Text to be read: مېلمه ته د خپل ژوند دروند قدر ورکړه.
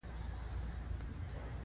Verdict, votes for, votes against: rejected, 1, 2